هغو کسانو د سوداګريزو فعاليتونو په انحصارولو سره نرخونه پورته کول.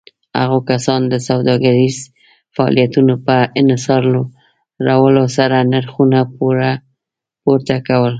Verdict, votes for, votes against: rejected, 0, 2